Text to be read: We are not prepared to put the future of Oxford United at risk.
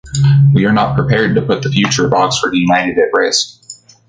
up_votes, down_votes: 2, 0